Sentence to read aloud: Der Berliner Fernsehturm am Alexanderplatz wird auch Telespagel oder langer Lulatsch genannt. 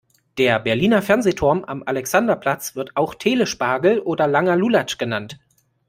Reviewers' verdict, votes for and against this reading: accepted, 2, 0